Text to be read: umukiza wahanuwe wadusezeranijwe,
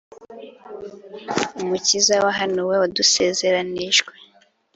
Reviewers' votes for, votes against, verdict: 2, 0, accepted